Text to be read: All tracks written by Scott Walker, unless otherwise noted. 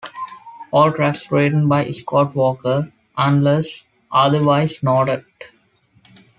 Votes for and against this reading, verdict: 2, 0, accepted